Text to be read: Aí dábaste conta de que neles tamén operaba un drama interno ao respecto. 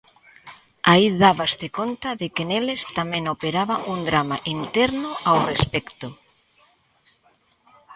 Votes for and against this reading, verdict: 2, 0, accepted